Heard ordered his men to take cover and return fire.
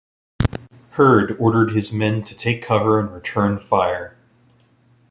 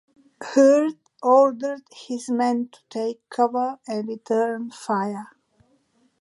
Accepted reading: second